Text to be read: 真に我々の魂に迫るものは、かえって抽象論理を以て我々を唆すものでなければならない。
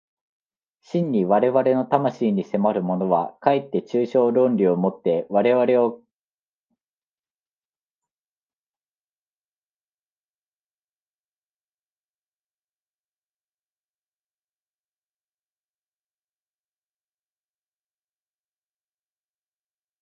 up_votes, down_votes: 0, 2